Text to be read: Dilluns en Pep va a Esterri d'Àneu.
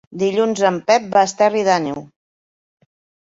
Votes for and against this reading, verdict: 2, 0, accepted